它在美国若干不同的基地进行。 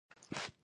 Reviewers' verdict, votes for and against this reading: accepted, 2, 0